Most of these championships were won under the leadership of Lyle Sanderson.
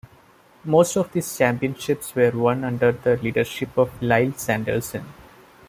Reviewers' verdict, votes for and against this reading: rejected, 0, 2